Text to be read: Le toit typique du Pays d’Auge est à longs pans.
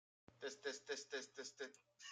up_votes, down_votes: 0, 2